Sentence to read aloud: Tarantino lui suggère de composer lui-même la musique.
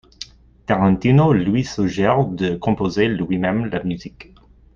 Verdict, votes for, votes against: accepted, 2, 0